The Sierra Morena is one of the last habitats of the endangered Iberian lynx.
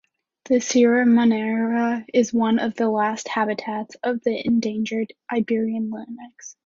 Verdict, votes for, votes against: accepted, 2, 1